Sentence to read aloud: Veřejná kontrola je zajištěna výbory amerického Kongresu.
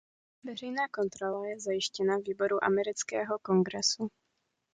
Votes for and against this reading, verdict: 1, 2, rejected